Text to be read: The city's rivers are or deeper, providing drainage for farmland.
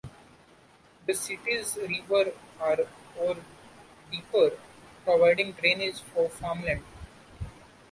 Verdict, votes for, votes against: rejected, 0, 2